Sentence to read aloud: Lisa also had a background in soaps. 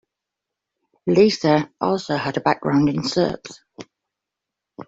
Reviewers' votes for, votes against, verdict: 2, 0, accepted